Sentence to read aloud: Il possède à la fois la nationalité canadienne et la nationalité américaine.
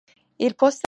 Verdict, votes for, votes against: rejected, 0, 2